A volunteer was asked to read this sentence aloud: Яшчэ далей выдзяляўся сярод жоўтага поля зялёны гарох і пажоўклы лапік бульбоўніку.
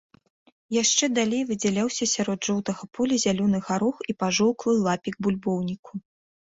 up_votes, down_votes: 2, 0